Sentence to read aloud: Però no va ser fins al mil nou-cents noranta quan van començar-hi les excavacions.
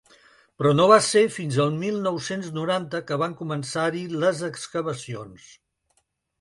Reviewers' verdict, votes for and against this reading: rejected, 1, 2